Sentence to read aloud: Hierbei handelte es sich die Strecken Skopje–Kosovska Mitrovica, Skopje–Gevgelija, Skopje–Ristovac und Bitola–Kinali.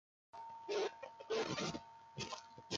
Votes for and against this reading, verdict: 0, 2, rejected